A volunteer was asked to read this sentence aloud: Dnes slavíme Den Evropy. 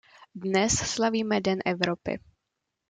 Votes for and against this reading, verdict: 2, 0, accepted